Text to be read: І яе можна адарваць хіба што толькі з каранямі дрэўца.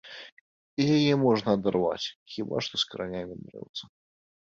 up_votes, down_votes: 1, 2